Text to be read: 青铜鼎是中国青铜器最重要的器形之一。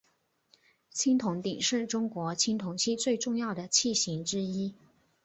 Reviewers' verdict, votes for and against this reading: accepted, 2, 0